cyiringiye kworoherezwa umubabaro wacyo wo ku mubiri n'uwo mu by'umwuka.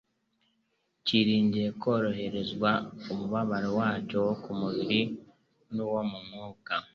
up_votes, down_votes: 2, 1